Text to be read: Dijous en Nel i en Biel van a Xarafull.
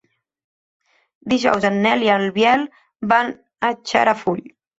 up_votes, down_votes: 0, 2